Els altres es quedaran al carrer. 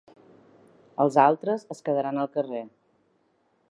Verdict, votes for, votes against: accepted, 2, 0